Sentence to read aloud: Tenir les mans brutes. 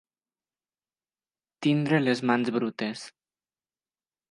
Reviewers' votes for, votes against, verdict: 1, 2, rejected